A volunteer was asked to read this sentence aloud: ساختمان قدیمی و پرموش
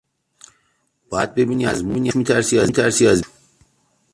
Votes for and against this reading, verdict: 0, 2, rejected